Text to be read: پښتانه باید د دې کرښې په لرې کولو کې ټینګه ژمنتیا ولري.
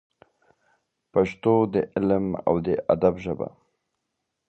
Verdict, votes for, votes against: rejected, 1, 2